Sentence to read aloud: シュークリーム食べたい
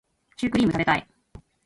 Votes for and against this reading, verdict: 2, 1, accepted